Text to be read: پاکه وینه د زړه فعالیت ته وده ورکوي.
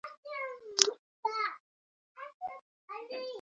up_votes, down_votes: 0, 2